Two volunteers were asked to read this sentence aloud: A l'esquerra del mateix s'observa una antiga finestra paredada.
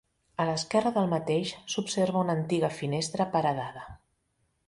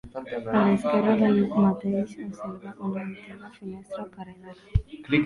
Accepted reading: first